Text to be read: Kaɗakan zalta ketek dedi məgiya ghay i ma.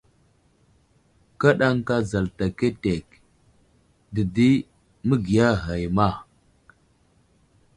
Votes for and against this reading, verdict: 2, 0, accepted